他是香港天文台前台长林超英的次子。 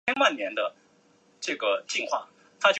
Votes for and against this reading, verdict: 0, 3, rejected